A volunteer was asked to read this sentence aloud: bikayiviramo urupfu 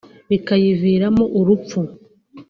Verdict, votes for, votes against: accepted, 2, 0